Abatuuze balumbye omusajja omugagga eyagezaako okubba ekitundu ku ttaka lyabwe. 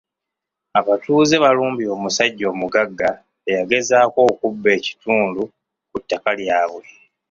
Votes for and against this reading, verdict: 2, 0, accepted